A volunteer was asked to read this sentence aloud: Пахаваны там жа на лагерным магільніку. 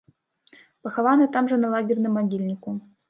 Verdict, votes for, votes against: accepted, 2, 0